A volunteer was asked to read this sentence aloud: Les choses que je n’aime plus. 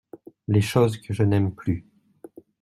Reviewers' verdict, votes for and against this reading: accepted, 2, 0